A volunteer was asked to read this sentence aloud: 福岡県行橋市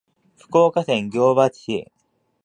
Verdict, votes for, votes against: rejected, 1, 2